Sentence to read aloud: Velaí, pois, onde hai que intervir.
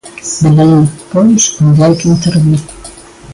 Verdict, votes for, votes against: rejected, 1, 2